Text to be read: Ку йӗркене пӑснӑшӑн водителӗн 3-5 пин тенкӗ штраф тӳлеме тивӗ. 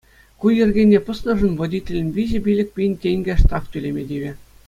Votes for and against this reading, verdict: 0, 2, rejected